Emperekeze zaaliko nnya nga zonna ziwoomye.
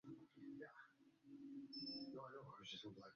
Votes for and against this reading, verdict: 0, 2, rejected